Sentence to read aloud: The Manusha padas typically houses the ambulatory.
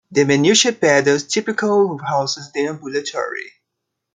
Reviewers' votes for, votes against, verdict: 1, 2, rejected